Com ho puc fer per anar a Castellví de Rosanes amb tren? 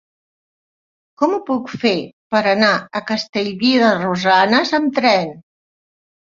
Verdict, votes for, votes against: accepted, 2, 0